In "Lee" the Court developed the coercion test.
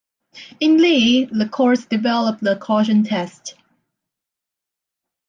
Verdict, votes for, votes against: accepted, 2, 0